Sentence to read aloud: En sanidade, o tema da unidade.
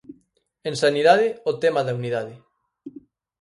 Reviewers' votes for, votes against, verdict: 4, 0, accepted